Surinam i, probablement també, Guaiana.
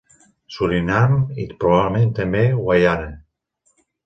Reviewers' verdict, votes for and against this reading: accepted, 2, 0